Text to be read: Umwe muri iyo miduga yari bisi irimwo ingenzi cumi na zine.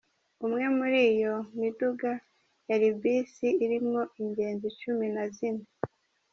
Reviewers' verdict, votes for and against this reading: accepted, 2, 0